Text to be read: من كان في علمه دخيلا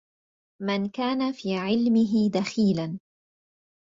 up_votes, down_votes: 2, 0